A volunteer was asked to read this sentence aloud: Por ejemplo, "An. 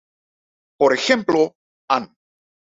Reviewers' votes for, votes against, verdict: 2, 0, accepted